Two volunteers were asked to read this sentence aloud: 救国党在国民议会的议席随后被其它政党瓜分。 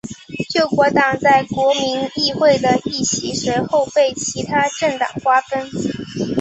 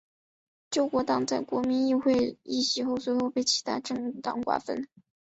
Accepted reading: first